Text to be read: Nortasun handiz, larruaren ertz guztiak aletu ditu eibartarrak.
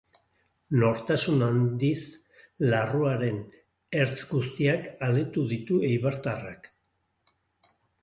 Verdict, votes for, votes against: rejected, 2, 2